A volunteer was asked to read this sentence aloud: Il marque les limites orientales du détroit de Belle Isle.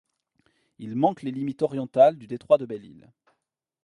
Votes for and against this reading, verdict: 1, 2, rejected